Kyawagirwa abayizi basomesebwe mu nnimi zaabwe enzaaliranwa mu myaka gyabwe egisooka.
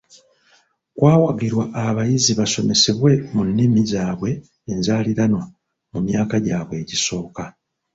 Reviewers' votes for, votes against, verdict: 1, 2, rejected